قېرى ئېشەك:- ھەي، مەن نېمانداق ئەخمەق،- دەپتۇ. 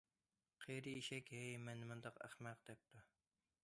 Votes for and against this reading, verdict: 2, 1, accepted